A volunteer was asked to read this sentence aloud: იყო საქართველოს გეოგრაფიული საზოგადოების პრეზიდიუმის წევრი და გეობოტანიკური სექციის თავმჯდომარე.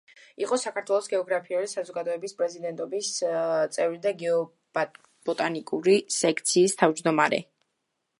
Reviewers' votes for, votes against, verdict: 0, 2, rejected